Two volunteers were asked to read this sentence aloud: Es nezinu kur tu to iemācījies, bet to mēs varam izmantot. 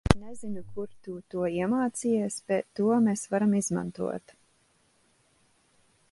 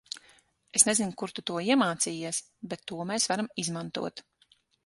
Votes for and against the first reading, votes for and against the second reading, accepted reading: 0, 2, 6, 0, second